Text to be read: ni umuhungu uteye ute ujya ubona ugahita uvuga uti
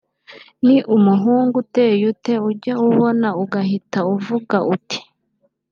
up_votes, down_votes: 2, 0